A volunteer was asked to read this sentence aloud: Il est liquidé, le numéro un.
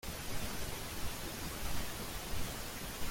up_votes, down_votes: 0, 2